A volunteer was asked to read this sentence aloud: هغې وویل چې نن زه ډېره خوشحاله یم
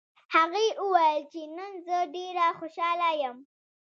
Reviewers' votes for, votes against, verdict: 2, 0, accepted